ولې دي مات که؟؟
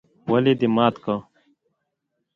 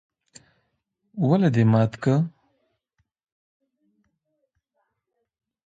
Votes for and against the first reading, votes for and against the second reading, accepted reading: 2, 0, 1, 2, first